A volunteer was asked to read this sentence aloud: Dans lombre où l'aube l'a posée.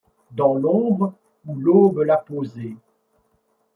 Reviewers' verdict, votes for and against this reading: accepted, 2, 0